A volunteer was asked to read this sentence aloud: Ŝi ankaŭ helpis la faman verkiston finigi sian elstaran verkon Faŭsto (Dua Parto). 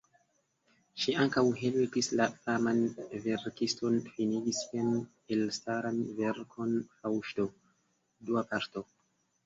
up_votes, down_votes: 1, 2